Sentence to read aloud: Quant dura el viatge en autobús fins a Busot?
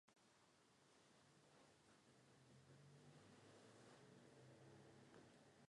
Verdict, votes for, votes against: rejected, 1, 2